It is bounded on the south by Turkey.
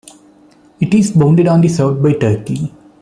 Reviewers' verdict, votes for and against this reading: accepted, 2, 0